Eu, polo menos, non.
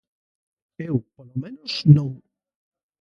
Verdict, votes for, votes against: rejected, 1, 2